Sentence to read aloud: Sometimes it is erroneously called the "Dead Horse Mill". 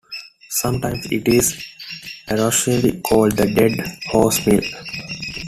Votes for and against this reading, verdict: 0, 2, rejected